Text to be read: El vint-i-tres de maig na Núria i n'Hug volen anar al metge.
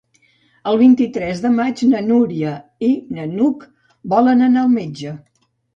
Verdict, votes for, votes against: rejected, 0, 2